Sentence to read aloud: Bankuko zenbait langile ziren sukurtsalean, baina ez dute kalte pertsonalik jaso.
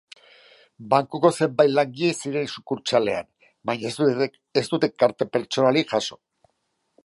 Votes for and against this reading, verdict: 0, 2, rejected